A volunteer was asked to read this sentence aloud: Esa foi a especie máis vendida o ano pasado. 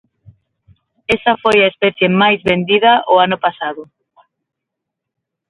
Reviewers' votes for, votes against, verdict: 3, 6, rejected